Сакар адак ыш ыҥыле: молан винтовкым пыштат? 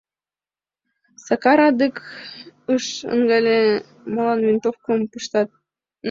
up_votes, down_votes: 1, 3